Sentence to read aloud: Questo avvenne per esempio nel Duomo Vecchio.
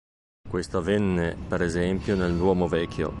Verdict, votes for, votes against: accepted, 2, 0